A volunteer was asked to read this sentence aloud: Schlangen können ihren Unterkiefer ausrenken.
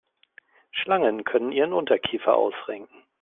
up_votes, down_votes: 2, 0